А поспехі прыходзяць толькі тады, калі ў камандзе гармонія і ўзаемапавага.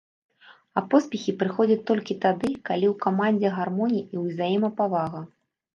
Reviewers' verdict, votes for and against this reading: rejected, 1, 2